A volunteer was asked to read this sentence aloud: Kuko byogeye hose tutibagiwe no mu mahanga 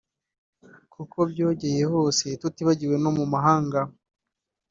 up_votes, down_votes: 2, 1